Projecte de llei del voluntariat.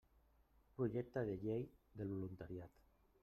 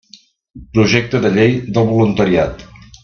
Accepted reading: second